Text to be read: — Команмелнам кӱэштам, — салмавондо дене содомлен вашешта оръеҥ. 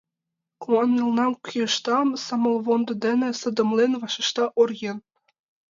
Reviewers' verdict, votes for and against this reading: rejected, 0, 2